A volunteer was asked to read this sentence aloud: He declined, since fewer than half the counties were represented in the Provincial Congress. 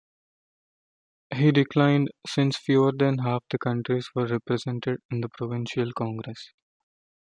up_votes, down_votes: 1, 2